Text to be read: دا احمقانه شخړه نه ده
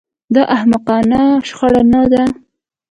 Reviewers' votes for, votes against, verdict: 2, 0, accepted